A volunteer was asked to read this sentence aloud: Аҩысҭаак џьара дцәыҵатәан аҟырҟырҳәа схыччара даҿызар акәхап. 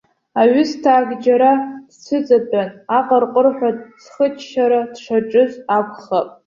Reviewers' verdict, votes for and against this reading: rejected, 1, 2